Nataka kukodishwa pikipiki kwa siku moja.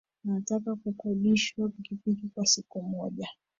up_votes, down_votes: 0, 2